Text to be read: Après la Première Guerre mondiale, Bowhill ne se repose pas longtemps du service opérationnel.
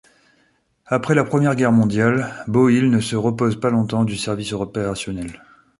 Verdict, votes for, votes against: rejected, 0, 2